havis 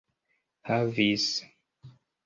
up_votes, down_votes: 2, 1